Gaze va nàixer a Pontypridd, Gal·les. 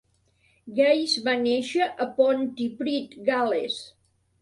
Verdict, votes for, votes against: accepted, 2, 0